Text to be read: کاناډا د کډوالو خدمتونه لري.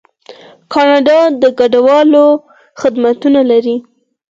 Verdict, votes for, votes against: rejected, 2, 4